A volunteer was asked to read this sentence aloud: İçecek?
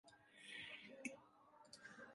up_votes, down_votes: 0, 2